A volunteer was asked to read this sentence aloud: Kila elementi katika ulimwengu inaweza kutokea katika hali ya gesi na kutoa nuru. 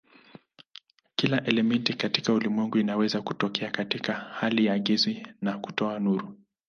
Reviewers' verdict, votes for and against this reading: rejected, 1, 2